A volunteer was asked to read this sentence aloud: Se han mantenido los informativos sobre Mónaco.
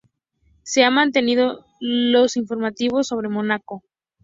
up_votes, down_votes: 4, 0